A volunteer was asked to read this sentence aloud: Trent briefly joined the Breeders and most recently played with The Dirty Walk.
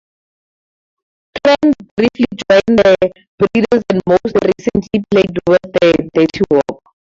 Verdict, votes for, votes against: rejected, 0, 2